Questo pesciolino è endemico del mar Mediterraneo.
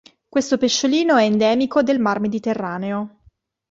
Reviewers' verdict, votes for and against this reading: accepted, 2, 0